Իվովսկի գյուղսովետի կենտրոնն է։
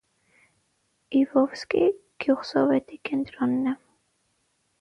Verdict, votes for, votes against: rejected, 3, 6